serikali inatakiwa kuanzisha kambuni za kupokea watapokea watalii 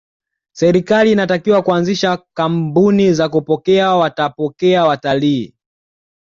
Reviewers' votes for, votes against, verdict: 2, 0, accepted